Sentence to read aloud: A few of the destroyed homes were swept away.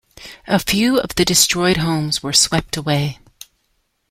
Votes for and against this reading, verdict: 2, 0, accepted